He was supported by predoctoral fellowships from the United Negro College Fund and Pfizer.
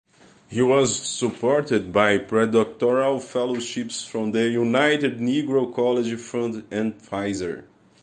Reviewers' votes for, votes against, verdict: 2, 0, accepted